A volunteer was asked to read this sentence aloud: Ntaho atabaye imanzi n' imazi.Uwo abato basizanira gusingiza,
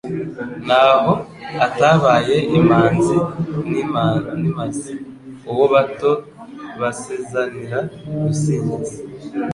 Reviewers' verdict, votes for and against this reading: rejected, 1, 2